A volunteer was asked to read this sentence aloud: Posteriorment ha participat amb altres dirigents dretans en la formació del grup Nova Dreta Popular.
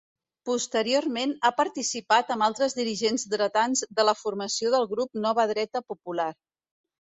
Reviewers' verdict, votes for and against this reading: rejected, 1, 2